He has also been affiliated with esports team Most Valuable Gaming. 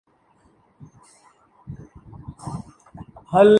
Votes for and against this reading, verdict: 1, 2, rejected